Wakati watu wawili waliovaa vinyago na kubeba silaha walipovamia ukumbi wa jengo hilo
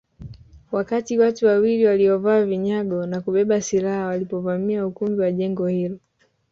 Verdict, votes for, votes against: accepted, 2, 1